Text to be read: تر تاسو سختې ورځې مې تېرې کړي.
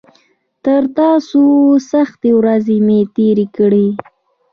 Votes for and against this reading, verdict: 2, 1, accepted